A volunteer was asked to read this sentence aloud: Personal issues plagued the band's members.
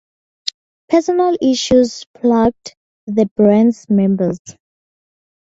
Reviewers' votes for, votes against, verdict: 0, 4, rejected